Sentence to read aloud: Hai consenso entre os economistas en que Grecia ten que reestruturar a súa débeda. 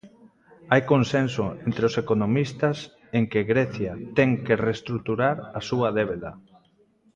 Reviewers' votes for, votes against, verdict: 2, 0, accepted